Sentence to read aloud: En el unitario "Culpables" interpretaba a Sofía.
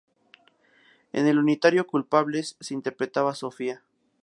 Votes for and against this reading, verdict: 4, 0, accepted